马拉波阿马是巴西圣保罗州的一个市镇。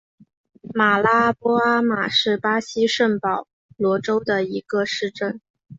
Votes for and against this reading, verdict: 3, 0, accepted